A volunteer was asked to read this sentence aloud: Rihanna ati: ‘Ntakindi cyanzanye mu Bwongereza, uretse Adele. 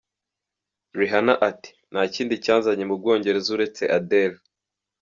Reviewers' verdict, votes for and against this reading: rejected, 1, 2